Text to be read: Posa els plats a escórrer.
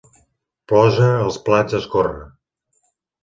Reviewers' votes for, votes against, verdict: 2, 0, accepted